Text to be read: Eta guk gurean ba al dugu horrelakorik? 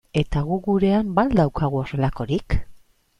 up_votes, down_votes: 0, 2